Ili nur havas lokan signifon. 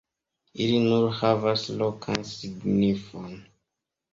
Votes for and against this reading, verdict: 2, 0, accepted